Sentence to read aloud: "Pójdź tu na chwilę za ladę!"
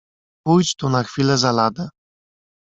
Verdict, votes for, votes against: accepted, 2, 0